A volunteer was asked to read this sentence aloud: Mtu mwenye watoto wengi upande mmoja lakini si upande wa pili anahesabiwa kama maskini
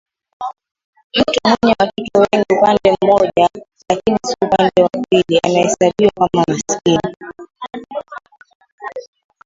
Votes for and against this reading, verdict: 0, 3, rejected